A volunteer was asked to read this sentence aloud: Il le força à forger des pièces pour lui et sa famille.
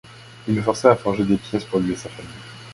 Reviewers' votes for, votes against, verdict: 0, 2, rejected